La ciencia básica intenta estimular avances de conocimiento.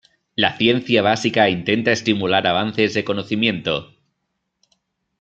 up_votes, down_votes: 1, 2